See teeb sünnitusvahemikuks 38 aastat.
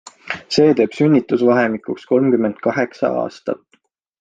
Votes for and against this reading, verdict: 0, 2, rejected